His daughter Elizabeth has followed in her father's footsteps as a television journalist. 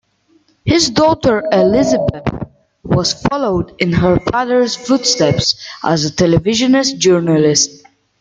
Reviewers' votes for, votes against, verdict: 0, 2, rejected